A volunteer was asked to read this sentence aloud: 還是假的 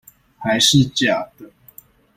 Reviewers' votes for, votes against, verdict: 2, 0, accepted